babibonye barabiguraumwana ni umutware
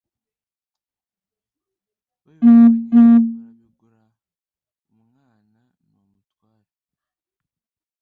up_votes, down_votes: 1, 2